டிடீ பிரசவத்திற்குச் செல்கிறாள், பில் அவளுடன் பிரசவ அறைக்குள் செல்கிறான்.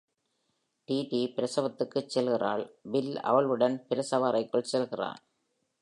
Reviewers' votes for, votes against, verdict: 2, 1, accepted